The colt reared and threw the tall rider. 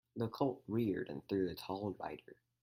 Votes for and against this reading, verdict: 4, 0, accepted